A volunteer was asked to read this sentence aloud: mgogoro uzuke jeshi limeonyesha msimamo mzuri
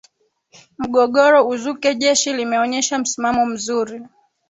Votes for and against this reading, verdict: 2, 3, rejected